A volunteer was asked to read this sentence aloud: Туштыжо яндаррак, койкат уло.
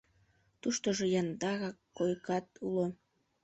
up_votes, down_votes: 0, 2